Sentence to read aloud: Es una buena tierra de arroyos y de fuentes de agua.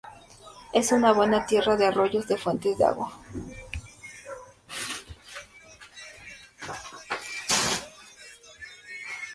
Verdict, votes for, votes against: rejected, 0, 2